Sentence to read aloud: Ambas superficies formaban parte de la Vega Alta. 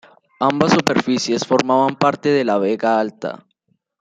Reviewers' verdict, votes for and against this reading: rejected, 1, 2